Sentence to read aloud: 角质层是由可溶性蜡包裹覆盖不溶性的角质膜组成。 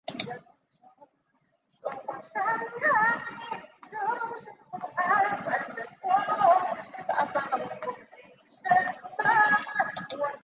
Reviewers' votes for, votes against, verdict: 0, 4, rejected